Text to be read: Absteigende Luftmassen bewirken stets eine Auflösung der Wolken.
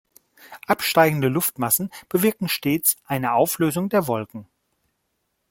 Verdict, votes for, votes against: accepted, 2, 0